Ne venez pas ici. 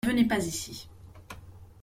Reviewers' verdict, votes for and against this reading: rejected, 1, 2